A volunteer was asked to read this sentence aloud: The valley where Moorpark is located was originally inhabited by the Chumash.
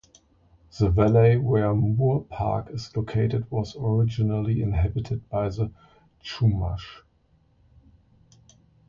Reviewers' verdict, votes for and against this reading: rejected, 1, 2